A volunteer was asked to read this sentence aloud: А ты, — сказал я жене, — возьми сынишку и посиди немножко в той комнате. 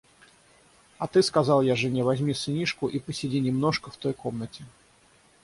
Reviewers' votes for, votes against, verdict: 0, 3, rejected